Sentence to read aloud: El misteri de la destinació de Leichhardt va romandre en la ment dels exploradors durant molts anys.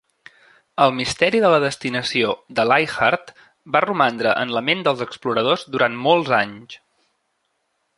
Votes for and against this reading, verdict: 2, 0, accepted